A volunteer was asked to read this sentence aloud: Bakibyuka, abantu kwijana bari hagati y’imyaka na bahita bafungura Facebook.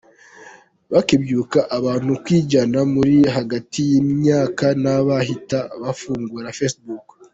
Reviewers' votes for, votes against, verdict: 1, 2, rejected